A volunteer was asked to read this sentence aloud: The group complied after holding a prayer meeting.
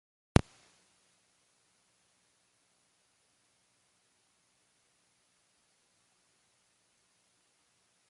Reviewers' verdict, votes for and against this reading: rejected, 0, 2